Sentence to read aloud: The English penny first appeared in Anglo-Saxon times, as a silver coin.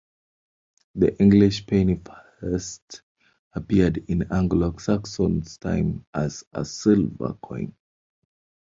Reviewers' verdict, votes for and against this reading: rejected, 0, 2